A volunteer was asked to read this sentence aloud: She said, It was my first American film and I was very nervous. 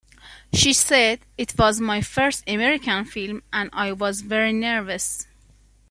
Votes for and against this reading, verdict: 2, 0, accepted